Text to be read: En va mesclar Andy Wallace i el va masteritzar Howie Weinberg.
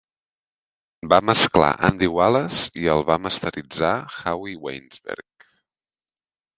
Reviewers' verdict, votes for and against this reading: rejected, 0, 2